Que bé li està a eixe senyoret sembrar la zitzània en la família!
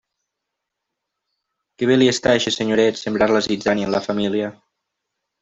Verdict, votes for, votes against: accepted, 2, 0